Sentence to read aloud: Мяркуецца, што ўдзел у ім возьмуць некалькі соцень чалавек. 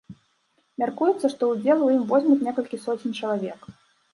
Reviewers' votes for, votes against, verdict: 2, 0, accepted